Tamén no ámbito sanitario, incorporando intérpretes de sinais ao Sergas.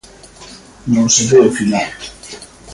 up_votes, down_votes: 0, 2